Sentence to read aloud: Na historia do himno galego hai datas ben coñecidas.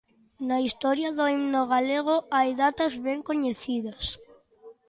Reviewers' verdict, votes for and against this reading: accepted, 2, 0